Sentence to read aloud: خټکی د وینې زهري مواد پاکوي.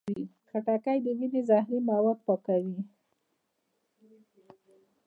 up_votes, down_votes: 0, 2